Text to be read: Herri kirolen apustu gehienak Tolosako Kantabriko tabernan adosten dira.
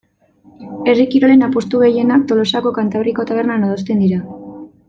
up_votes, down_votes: 2, 0